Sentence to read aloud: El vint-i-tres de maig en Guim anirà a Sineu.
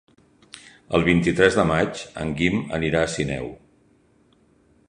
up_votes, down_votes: 3, 0